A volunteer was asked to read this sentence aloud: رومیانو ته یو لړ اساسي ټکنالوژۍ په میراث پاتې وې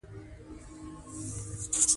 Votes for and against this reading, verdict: 2, 1, accepted